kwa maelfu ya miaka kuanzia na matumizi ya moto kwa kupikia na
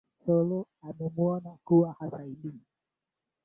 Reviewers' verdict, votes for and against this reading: rejected, 0, 2